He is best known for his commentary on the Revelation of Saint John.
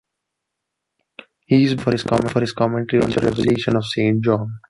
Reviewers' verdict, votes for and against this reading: rejected, 1, 3